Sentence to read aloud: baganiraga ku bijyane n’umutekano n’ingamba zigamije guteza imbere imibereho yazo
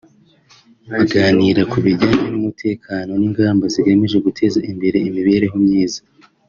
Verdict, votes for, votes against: rejected, 1, 2